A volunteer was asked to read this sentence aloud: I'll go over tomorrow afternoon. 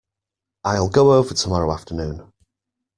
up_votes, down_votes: 2, 0